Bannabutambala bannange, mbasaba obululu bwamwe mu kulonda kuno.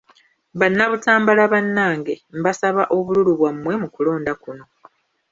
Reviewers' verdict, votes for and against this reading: rejected, 1, 2